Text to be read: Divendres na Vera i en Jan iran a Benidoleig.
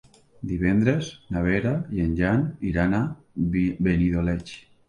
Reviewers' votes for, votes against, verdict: 1, 2, rejected